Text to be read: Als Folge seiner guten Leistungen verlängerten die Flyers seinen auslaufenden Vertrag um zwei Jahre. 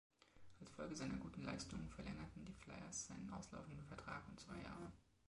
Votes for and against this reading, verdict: 2, 0, accepted